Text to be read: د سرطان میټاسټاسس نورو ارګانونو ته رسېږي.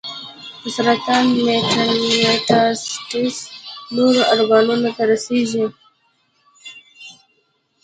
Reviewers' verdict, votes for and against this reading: rejected, 1, 2